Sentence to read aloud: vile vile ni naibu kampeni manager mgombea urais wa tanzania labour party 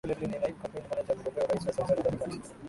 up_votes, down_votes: 1, 5